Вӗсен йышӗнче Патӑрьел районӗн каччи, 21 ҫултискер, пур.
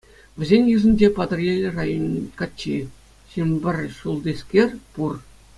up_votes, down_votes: 0, 2